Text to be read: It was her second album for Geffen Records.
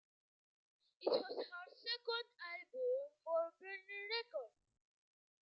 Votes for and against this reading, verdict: 0, 2, rejected